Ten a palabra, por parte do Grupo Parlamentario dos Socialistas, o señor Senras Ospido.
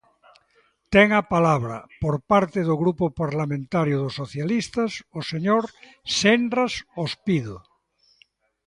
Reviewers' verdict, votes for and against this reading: rejected, 1, 2